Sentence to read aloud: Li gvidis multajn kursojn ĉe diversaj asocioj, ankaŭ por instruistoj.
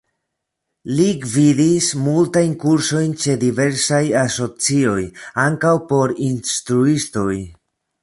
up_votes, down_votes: 2, 0